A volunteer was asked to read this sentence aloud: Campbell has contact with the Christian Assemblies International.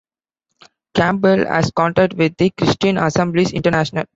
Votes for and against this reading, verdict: 2, 0, accepted